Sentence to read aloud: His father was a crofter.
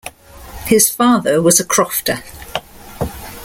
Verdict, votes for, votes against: accepted, 2, 0